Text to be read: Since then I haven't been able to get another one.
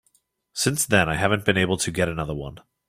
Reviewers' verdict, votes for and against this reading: accepted, 2, 0